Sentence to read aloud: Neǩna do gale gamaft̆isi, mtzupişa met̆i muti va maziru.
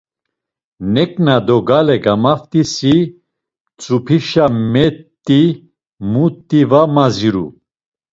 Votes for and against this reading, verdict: 2, 0, accepted